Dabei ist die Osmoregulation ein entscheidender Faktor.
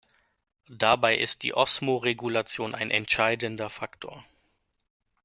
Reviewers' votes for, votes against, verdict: 2, 0, accepted